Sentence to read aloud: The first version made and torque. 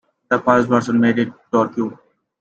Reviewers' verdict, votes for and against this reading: rejected, 1, 2